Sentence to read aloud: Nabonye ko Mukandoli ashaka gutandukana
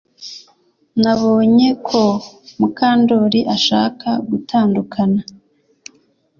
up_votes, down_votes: 2, 0